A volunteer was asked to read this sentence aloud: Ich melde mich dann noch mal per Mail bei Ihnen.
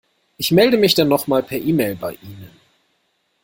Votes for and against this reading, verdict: 1, 2, rejected